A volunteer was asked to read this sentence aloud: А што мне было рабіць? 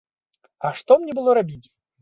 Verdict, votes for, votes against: accepted, 2, 0